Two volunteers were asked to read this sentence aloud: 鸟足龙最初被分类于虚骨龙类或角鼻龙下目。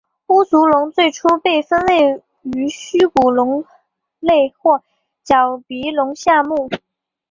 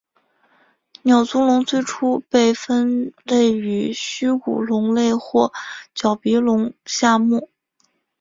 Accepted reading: first